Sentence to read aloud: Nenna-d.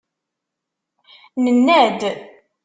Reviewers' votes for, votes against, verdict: 2, 0, accepted